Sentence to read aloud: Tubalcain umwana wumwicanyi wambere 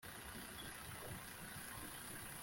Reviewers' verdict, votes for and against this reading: rejected, 2, 3